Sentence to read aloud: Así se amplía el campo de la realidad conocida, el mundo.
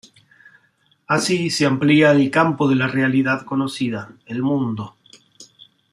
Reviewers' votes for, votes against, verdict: 2, 1, accepted